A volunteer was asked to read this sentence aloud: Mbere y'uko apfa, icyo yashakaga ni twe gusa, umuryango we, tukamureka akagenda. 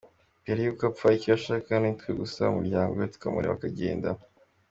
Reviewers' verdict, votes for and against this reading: accepted, 2, 0